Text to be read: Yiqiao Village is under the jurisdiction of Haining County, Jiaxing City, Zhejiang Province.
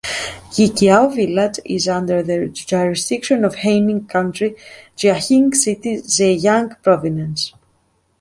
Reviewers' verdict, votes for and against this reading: rejected, 1, 2